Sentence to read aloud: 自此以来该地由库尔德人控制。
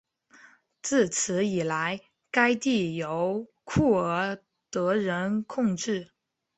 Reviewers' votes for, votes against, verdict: 2, 0, accepted